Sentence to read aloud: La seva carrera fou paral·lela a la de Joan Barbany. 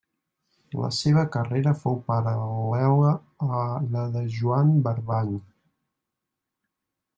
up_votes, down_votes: 1, 2